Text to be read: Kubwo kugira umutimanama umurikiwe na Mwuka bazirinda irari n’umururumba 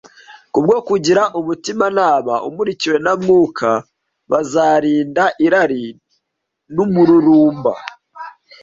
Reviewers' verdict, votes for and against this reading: rejected, 1, 2